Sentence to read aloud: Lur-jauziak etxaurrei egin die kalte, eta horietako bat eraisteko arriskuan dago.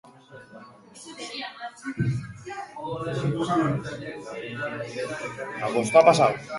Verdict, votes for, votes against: rejected, 0, 2